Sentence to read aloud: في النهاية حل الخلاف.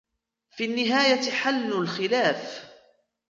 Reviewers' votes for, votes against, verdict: 2, 0, accepted